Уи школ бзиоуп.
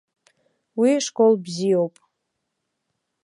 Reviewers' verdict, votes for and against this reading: accepted, 2, 0